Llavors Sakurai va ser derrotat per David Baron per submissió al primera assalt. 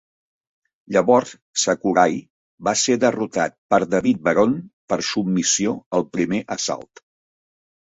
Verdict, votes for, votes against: rejected, 1, 2